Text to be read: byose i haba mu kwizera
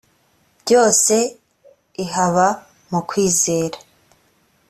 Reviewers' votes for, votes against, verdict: 2, 0, accepted